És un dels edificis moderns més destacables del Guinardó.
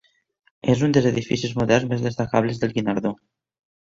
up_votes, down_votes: 2, 0